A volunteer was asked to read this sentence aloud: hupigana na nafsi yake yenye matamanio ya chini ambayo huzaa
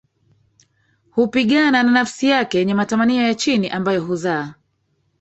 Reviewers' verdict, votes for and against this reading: rejected, 2, 3